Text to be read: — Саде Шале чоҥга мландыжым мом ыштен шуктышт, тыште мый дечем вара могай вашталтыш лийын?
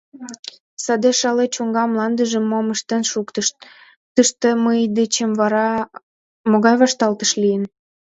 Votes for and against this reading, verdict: 1, 2, rejected